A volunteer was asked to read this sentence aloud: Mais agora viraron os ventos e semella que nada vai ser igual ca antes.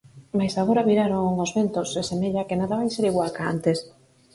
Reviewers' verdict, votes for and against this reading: accepted, 4, 0